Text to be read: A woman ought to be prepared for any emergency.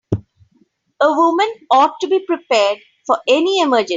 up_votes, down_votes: 2, 7